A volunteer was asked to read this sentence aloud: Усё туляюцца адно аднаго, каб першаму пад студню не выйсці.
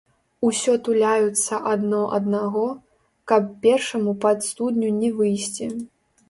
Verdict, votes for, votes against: rejected, 1, 2